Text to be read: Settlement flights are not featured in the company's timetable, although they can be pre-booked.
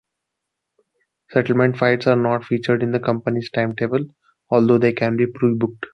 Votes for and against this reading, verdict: 2, 0, accepted